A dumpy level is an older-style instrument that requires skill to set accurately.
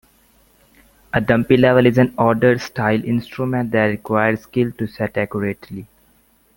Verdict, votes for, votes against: rejected, 0, 2